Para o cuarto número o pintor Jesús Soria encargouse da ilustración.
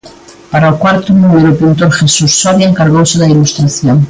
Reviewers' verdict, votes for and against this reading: accepted, 2, 0